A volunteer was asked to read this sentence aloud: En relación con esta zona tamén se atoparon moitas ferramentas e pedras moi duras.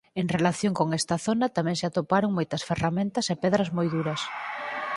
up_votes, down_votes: 4, 2